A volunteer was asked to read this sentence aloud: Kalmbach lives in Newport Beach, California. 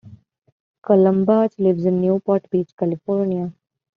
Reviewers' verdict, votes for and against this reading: rejected, 0, 2